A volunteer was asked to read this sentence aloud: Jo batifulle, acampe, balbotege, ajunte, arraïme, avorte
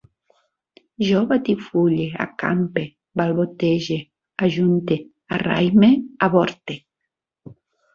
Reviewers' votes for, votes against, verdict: 2, 0, accepted